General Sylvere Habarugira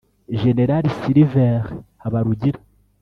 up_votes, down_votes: 1, 2